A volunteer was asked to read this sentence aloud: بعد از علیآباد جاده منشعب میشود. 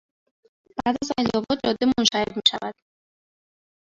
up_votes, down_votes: 0, 2